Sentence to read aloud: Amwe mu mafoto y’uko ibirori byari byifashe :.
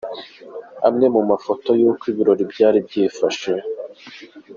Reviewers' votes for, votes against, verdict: 2, 0, accepted